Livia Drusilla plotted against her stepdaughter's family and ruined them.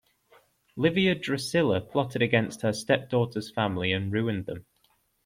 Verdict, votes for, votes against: accepted, 2, 1